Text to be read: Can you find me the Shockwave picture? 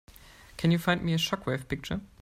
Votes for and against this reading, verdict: 0, 2, rejected